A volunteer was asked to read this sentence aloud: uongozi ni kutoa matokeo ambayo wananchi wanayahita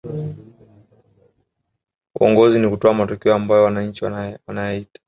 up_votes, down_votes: 0, 3